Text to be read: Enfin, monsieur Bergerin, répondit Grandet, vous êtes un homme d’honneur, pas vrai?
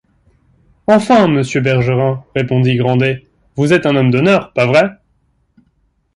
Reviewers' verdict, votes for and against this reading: accepted, 2, 1